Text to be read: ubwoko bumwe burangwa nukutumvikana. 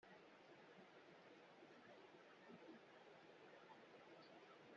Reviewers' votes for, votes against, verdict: 1, 2, rejected